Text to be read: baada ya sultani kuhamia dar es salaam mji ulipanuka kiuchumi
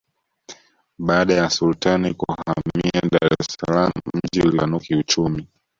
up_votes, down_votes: 1, 2